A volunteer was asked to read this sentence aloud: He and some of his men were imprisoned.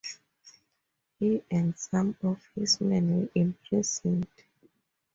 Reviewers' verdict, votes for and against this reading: accepted, 6, 4